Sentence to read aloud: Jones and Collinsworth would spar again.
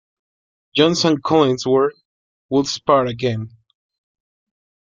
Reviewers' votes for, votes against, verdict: 2, 1, accepted